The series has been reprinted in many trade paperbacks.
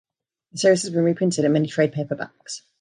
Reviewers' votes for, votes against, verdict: 1, 2, rejected